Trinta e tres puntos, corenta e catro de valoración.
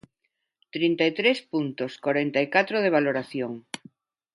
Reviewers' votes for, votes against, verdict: 2, 0, accepted